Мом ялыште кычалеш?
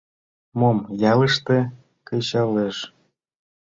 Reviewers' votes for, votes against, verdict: 2, 0, accepted